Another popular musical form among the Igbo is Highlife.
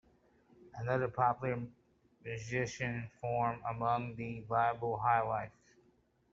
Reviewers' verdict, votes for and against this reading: rejected, 0, 2